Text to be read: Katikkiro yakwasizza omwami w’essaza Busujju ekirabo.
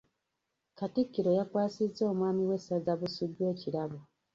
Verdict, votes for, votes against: rejected, 0, 2